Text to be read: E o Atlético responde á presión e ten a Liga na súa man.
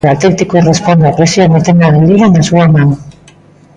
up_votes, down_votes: 0, 2